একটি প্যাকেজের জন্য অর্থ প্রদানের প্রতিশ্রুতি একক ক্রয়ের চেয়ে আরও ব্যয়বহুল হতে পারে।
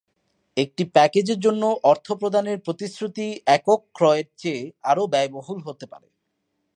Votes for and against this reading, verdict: 40, 1, accepted